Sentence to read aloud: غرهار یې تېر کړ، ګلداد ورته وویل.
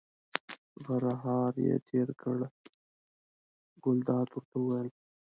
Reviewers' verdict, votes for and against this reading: rejected, 1, 2